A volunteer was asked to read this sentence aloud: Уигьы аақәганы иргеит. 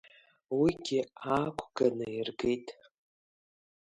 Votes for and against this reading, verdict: 2, 1, accepted